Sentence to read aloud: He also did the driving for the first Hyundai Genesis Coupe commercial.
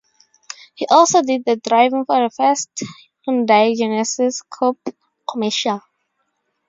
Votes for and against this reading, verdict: 4, 0, accepted